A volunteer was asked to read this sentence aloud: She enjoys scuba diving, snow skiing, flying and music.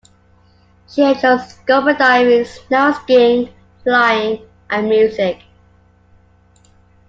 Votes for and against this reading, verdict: 1, 2, rejected